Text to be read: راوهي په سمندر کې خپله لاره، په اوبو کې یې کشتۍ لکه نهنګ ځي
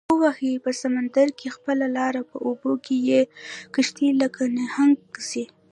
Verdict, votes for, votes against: rejected, 0, 2